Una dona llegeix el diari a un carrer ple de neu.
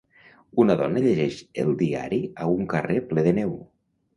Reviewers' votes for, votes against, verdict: 2, 0, accepted